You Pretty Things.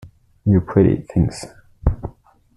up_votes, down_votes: 1, 2